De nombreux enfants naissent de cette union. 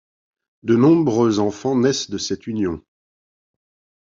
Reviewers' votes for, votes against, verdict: 2, 0, accepted